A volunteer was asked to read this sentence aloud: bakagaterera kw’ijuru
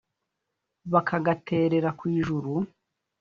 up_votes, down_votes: 2, 0